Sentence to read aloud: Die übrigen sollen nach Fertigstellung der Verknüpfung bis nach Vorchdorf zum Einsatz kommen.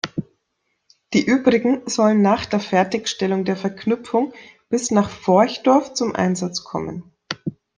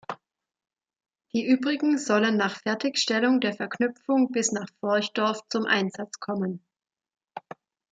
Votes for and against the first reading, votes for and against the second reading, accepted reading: 1, 2, 2, 0, second